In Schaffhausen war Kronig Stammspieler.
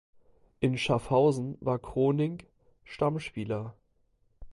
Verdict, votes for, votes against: rejected, 1, 2